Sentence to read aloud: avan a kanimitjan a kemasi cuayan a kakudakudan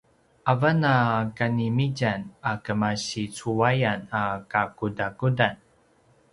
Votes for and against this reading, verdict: 2, 0, accepted